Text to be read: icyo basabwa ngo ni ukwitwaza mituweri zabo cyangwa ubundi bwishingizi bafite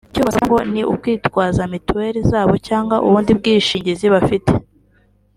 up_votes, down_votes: 2, 0